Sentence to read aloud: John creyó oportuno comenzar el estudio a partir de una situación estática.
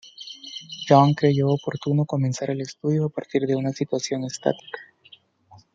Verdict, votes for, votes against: rejected, 1, 2